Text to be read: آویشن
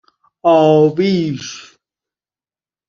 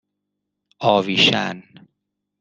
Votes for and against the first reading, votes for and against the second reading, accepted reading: 1, 2, 2, 0, second